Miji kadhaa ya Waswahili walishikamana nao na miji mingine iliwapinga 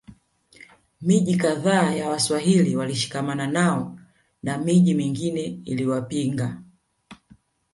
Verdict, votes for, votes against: rejected, 1, 2